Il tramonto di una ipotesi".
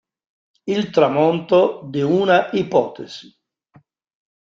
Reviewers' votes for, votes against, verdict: 2, 0, accepted